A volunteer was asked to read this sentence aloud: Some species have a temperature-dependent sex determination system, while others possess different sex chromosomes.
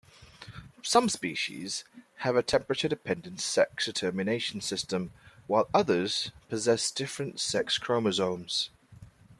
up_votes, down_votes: 2, 0